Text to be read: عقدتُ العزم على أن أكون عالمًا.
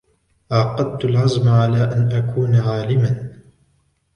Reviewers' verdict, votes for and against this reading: rejected, 0, 2